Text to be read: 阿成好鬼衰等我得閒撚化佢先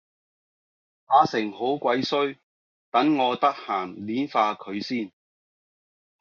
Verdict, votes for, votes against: accepted, 2, 1